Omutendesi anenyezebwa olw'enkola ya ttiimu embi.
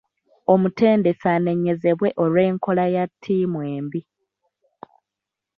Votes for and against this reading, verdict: 2, 1, accepted